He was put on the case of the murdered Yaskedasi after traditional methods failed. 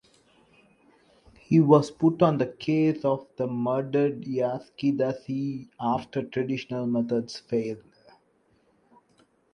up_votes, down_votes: 2, 1